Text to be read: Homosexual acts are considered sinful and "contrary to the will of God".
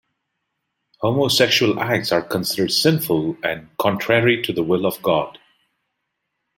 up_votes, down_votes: 2, 0